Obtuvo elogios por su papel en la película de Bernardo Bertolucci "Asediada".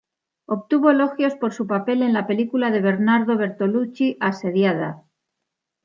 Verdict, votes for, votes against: accepted, 2, 0